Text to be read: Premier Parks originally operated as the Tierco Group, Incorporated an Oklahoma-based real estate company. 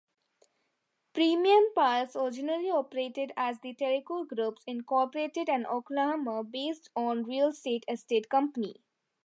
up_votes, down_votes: 0, 2